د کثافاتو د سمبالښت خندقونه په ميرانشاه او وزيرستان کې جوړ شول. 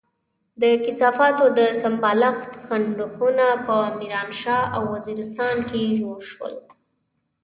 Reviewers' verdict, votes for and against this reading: accepted, 2, 0